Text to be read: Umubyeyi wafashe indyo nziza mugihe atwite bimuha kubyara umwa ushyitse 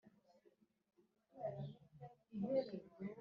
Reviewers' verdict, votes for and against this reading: rejected, 0, 2